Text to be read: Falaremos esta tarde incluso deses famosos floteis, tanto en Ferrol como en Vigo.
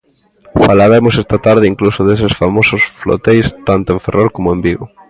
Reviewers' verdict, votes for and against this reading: accepted, 2, 1